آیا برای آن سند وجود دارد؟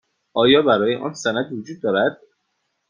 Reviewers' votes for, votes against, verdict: 2, 0, accepted